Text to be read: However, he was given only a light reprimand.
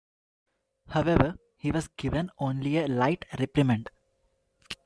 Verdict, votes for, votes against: rejected, 1, 2